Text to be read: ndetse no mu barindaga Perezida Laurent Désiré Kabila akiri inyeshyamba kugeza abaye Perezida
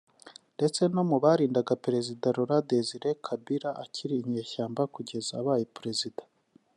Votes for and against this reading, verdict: 0, 2, rejected